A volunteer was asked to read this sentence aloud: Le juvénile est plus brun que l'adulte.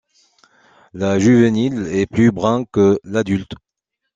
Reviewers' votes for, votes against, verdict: 2, 1, accepted